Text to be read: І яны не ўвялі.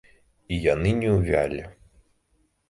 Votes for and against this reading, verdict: 1, 2, rejected